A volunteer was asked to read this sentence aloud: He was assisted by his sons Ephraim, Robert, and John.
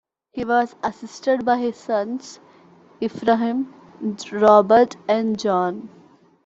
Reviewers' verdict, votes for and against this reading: rejected, 0, 2